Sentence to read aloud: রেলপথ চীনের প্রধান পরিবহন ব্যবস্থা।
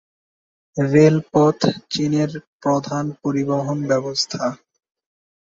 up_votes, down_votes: 2, 0